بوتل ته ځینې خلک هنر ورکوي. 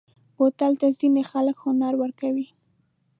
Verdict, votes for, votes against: accepted, 2, 0